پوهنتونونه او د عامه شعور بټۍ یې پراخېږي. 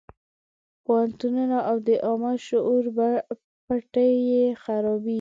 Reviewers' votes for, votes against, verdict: 1, 4, rejected